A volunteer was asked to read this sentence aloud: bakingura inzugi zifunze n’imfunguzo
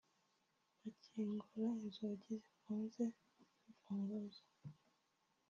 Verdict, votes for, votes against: accepted, 2, 1